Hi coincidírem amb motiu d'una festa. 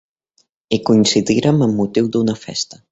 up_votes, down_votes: 2, 0